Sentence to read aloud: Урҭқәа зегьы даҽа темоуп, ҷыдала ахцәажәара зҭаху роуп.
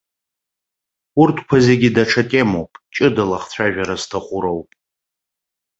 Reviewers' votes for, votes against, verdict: 2, 0, accepted